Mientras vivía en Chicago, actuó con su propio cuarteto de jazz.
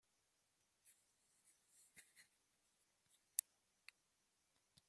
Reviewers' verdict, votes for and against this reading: rejected, 0, 2